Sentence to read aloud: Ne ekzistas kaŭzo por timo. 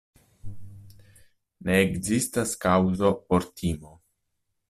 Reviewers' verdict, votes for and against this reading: accepted, 2, 0